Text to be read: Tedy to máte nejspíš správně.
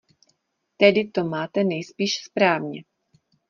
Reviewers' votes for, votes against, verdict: 2, 0, accepted